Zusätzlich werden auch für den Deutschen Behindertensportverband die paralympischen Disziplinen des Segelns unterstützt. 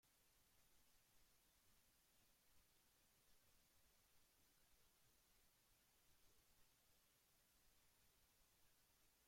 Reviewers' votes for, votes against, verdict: 0, 2, rejected